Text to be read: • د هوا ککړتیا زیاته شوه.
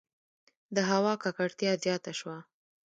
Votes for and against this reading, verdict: 0, 2, rejected